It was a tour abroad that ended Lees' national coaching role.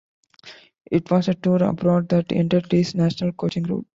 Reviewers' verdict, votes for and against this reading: rejected, 1, 2